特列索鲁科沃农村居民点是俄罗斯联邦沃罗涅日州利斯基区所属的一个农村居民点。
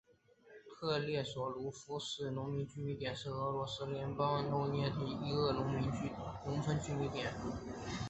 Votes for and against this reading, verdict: 0, 2, rejected